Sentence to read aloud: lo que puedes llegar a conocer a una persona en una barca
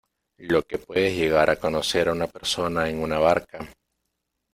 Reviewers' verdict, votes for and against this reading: accepted, 2, 0